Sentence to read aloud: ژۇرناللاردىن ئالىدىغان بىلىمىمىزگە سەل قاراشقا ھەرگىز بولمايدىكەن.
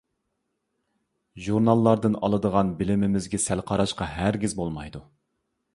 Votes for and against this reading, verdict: 1, 2, rejected